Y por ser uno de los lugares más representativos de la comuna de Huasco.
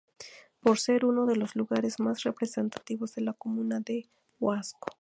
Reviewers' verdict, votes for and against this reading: rejected, 0, 2